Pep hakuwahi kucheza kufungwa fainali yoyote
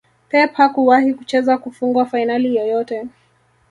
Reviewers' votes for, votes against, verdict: 2, 0, accepted